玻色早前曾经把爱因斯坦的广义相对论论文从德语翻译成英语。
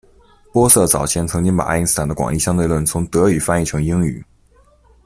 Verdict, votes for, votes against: rejected, 1, 2